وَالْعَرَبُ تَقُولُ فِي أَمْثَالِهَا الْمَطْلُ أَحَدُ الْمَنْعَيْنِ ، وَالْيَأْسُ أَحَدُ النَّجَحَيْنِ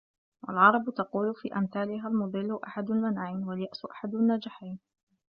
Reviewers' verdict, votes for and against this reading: rejected, 1, 2